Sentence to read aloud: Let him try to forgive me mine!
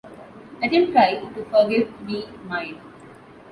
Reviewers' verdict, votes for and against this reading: accepted, 2, 1